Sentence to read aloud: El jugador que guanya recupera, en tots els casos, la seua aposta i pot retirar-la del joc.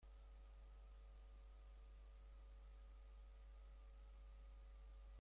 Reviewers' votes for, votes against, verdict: 0, 2, rejected